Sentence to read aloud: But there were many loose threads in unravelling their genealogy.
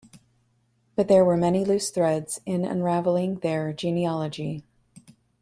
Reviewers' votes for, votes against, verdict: 2, 0, accepted